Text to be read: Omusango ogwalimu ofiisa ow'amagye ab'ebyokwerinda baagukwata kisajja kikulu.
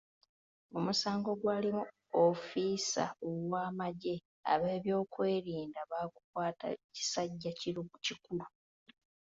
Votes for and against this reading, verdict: 1, 2, rejected